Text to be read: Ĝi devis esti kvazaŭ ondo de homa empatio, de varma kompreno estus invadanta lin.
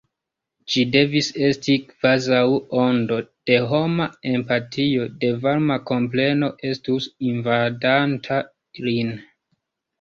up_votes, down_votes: 0, 2